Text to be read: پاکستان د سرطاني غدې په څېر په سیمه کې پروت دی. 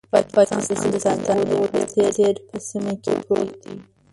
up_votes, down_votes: 0, 2